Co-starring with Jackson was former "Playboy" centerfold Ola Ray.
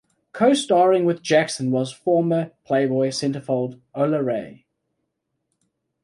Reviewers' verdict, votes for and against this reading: accepted, 2, 0